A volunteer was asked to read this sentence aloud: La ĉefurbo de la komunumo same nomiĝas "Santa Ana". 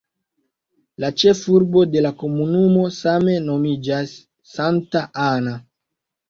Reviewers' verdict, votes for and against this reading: rejected, 1, 2